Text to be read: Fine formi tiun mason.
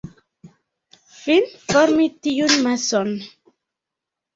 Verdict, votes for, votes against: rejected, 1, 2